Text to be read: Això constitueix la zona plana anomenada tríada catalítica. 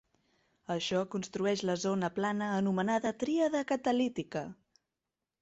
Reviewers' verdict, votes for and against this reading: rejected, 0, 2